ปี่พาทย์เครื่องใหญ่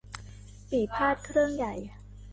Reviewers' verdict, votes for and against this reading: accepted, 2, 1